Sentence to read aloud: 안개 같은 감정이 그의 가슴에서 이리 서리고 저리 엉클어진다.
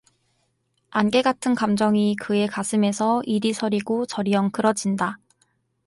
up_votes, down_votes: 4, 0